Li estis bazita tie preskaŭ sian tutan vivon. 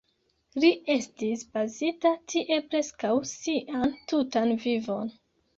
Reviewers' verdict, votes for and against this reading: accepted, 2, 0